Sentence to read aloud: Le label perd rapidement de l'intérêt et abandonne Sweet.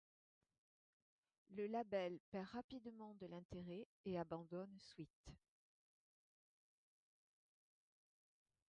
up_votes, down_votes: 0, 2